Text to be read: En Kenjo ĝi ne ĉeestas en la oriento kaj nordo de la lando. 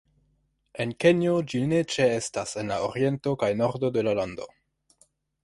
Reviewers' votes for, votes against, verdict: 0, 2, rejected